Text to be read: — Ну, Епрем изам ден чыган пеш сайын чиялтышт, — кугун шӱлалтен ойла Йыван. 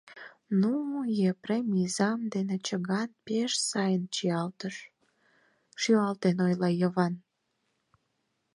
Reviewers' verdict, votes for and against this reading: rejected, 0, 4